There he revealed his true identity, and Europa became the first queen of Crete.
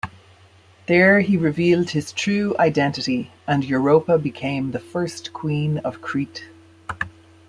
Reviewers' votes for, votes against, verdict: 2, 0, accepted